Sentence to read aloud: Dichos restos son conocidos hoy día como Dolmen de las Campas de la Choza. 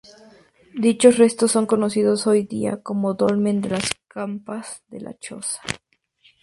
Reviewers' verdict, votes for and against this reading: accepted, 2, 0